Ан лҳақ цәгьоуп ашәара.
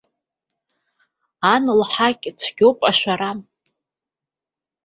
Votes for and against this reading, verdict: 1, 2, rejected